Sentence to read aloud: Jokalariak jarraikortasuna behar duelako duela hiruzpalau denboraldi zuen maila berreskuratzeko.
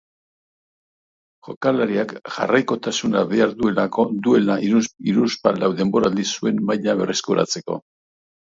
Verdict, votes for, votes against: rejected, 1, 2